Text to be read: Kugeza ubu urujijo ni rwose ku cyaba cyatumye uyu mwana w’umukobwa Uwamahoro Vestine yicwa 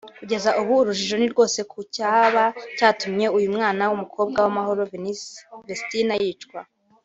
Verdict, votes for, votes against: rejected, 1, 2